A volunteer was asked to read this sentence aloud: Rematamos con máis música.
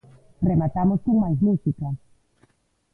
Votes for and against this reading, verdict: 2, 0, accepted